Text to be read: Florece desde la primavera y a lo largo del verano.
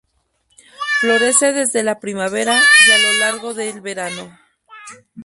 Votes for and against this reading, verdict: 0, 2, rejected